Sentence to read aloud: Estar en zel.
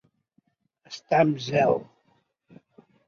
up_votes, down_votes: 2, 0